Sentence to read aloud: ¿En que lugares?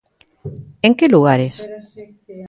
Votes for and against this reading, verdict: 0, 2, rejected